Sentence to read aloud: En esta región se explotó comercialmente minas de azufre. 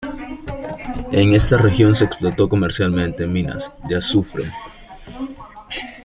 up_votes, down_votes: 2, 0